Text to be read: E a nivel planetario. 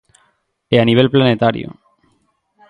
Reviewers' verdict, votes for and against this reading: accepted, 4, 0